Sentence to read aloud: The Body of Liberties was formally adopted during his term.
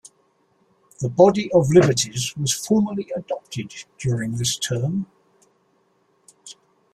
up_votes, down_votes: 0, 2